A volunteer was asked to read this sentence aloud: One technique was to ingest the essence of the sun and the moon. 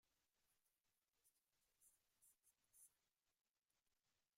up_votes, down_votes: 0, 2